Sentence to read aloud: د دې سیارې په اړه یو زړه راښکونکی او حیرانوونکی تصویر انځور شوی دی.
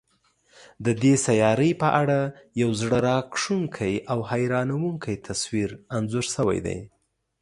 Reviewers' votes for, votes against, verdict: 1, 2, rejected